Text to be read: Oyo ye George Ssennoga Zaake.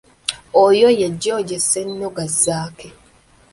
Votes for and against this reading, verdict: 2, 0, accepted